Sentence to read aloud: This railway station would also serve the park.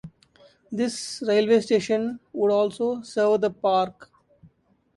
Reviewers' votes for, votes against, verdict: 0, 2, rejected